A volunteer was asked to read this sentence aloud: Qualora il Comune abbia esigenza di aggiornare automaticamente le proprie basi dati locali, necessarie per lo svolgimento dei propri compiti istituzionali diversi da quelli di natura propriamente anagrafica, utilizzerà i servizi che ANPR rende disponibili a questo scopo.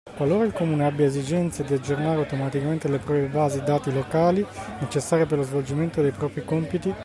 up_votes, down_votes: 0, 2